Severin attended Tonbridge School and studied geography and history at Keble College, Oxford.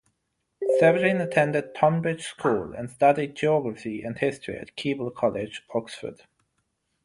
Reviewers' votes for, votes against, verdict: 3, 3, rejected